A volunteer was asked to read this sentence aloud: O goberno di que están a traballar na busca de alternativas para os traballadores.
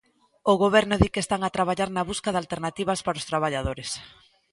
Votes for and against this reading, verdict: 2, 0, accepted